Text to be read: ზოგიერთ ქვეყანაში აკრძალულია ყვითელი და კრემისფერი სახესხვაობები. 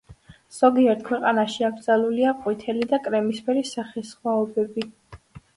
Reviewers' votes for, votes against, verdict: 2, 0, accepted